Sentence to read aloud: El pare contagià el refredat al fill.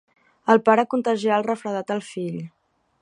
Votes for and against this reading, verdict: 6, 0, accepted